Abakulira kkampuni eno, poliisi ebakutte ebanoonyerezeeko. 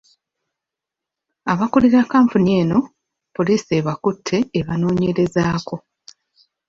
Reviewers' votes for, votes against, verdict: 2, 0, accepted